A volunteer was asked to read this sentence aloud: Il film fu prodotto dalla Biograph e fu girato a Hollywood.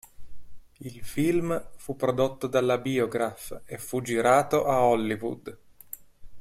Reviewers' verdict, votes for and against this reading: accepted, 2, 0